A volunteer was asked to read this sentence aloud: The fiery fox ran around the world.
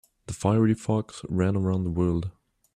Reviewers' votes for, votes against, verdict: 2, 1, accepted